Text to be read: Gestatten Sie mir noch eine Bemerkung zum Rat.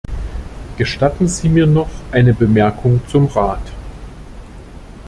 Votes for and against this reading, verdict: 2, 0, accepted